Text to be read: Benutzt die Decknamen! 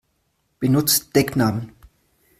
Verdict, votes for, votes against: rejected, 0, 2